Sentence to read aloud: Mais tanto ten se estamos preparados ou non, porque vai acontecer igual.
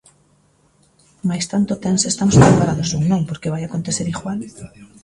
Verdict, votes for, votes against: rejected, 1, 2